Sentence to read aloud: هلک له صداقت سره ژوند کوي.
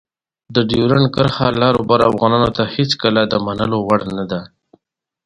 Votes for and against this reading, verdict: 0, 2, rejected